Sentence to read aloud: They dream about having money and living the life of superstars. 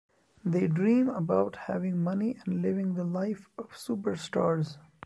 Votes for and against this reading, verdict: 2, 0, accepted